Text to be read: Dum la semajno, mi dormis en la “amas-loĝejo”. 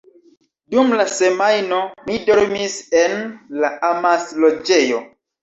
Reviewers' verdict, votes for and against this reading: accepted, 2, 0